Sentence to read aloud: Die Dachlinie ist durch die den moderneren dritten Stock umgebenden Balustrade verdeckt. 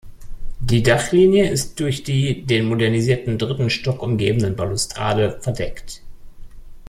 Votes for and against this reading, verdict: 0, 2, rejected